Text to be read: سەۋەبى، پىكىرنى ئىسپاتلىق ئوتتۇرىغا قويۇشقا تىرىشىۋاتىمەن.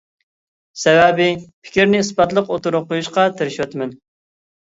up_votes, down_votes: 2, 0